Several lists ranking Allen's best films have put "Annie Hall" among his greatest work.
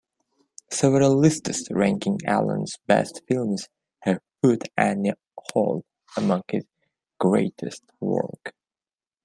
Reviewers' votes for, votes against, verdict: 1, 2, rejected